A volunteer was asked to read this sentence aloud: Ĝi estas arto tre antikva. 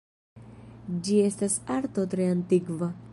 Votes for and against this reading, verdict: 2, 0, accepted